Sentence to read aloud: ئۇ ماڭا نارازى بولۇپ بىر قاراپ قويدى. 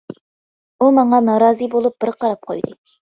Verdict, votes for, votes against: accepted, 2, 0